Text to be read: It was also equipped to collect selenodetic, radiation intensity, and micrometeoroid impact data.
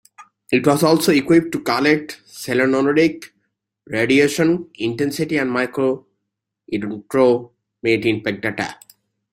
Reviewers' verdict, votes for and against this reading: rejected, 1, 2